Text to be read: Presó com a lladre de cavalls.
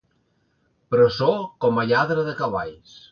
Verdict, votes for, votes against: accepted, 2, 0